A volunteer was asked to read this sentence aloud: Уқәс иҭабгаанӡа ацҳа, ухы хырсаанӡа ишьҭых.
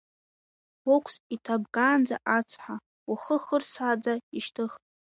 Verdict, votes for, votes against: accepted, 2, 1